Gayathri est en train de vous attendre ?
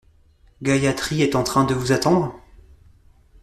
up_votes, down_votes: 2, 0